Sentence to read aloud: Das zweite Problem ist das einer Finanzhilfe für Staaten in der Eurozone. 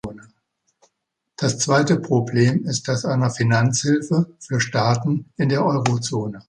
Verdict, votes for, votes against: accepted, 2, 0